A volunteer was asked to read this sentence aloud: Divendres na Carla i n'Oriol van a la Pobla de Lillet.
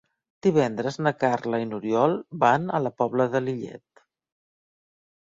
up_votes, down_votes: 4, 0